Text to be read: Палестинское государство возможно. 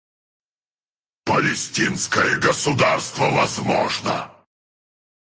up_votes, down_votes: 0, 4